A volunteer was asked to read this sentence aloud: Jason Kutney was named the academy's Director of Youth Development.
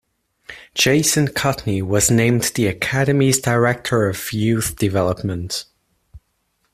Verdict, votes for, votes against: accepted, 2, 1